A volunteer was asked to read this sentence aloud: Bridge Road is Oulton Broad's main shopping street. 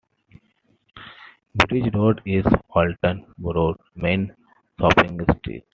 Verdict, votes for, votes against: accepted, 2, 0